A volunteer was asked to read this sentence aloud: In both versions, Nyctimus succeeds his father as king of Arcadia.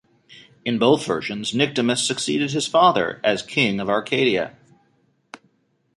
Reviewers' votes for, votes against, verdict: 1, 2, rejected